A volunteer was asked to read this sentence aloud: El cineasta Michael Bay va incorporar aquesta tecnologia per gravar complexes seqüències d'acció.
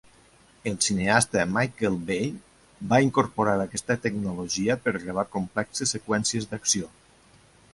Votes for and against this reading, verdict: 2, 0, accepted